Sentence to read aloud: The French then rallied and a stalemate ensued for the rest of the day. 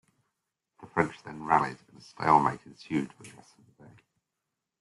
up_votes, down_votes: 2, 0